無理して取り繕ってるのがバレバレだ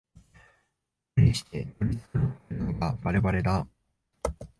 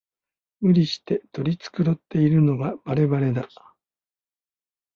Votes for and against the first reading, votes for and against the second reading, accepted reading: 1, 2, 2, 0, second